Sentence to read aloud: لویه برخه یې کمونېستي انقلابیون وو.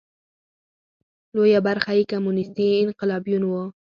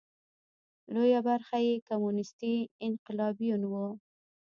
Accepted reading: first